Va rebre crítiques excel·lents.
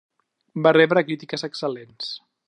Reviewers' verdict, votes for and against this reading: accepted, 3, 0